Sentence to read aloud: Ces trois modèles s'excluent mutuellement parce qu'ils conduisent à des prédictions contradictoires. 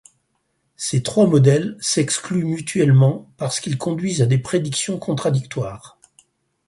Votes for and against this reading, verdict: 4, 0, accepted